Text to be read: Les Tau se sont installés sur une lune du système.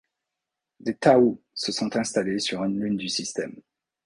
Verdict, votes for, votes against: rejected, 1, 2